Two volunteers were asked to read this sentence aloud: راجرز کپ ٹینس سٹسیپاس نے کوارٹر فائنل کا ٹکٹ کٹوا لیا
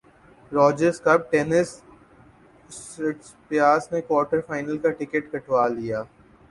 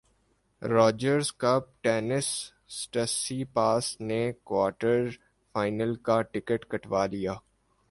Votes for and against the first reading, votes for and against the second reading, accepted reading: 0, 2, 4, 0, second